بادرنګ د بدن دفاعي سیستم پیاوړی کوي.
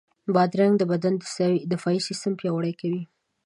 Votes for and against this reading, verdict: 2, 0, accepted